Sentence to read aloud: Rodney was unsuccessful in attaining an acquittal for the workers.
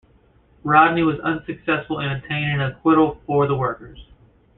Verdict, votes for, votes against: accepted, 2, 0